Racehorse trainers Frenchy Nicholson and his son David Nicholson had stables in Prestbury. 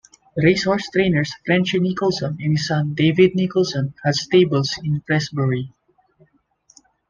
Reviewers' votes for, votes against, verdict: 2, 0, accepted